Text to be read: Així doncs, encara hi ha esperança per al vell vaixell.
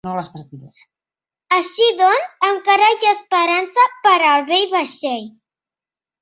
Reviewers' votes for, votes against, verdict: 0, 2, rejected